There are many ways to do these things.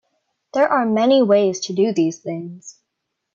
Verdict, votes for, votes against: accepted, 2, 0